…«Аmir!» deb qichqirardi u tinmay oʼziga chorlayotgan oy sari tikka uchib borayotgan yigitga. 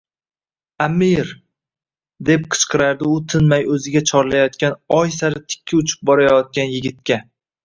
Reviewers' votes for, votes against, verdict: 2, 0, accepted